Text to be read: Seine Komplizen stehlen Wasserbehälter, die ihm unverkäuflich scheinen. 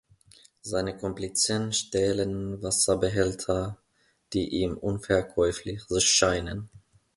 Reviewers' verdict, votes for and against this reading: rejected, 0, 2